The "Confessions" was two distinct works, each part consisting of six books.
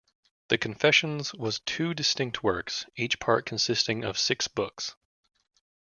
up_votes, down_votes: 2, 0